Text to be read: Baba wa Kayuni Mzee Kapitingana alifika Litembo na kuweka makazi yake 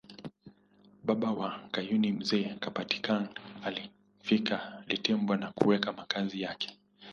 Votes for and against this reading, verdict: 2, 1, accepted